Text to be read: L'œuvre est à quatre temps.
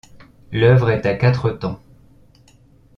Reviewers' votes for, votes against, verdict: 2, 0, accepted